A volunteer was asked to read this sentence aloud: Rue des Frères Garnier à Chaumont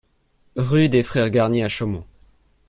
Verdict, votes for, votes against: accepted, 2, 0